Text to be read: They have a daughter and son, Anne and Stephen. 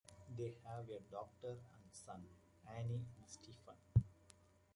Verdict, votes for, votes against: rejected, 1, 2